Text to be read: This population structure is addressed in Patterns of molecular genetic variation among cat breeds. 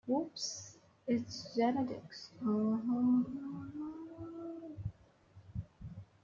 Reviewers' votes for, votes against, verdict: 0, 2, rejected